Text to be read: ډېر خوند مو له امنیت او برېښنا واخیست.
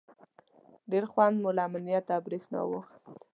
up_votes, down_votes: 3, 0